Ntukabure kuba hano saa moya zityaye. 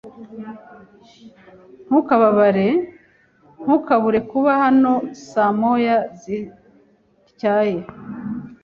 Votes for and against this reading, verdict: 1, 2, rejected